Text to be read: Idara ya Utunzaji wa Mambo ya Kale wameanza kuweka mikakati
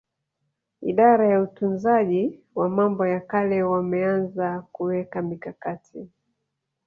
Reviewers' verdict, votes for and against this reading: rejected, 1, 2